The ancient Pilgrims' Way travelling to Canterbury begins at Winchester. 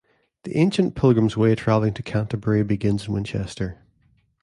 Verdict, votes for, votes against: rejected, 1, 2